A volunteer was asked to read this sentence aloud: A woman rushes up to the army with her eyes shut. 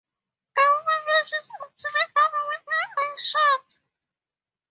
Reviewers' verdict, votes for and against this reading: rejected, 0, 2